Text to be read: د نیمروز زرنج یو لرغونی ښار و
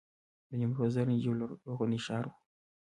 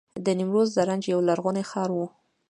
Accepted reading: second